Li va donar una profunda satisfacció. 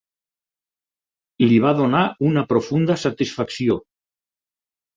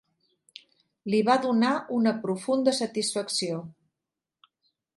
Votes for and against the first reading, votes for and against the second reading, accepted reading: 2, 4, 3, 0, second